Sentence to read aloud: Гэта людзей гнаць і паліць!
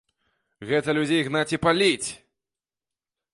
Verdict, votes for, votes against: accepted, 2, 0